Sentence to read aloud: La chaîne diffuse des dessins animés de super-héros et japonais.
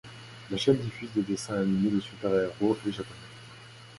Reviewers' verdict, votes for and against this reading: rejected, 0, 2